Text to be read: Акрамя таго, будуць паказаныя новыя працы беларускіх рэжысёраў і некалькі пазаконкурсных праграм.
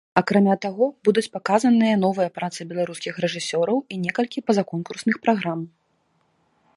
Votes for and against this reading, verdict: 2, 1, accepted